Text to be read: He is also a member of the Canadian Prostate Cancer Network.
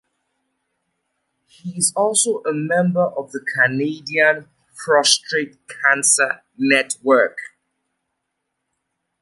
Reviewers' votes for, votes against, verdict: 2, 0, accepted